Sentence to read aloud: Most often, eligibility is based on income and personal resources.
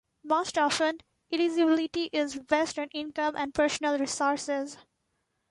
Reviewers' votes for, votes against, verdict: 2, 0, accepted